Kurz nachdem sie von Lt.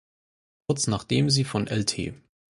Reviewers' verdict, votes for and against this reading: accepted, 4, 0